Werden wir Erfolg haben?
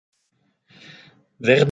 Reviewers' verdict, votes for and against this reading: rejected, 0, 2